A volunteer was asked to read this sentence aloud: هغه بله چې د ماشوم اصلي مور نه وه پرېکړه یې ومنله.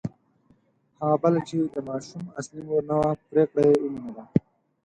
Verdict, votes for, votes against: rejected, 0, 4